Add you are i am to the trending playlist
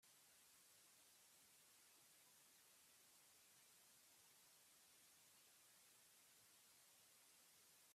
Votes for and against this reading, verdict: 0, 2, rejected